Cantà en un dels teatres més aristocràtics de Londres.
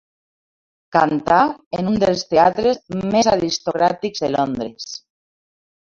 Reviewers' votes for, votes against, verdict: 2, 1, accepted